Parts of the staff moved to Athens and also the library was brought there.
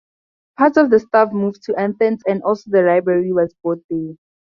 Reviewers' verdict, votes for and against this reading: rejected, 2, 2